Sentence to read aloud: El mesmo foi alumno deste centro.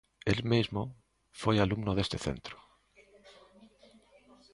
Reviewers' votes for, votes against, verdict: 2, 0, accepted